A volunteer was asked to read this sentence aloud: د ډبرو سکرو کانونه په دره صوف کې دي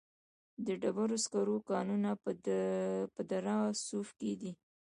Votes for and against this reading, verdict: 0, 2, rejected